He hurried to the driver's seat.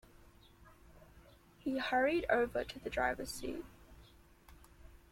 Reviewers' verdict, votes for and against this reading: rejected, 0, 2